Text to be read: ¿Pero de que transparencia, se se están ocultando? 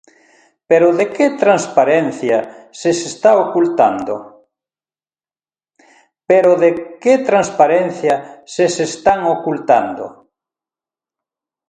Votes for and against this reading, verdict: 0, 2, rejected